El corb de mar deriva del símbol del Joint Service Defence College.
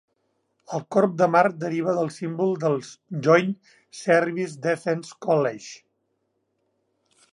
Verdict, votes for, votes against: rejected, 1, 2